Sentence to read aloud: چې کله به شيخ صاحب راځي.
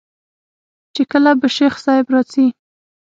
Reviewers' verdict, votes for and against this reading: accepted, 6, 0